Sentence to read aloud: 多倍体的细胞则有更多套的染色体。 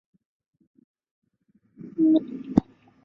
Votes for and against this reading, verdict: 2, 0, accepted